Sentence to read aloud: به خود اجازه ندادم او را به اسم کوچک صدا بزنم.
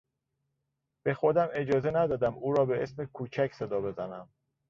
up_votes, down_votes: 1, 2